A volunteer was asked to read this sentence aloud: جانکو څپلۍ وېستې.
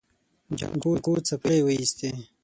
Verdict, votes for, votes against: rejected, 0, 6